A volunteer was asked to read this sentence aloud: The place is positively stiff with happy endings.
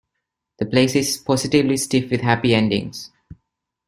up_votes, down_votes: 2, 0